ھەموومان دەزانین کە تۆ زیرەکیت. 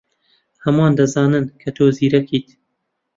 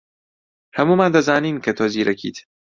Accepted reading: second